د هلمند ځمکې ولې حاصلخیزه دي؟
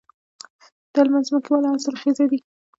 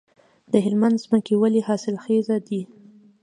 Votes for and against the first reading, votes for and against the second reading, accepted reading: 1, 2, 2, 0, second